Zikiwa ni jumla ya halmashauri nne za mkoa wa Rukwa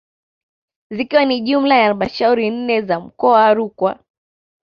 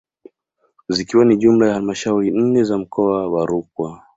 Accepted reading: second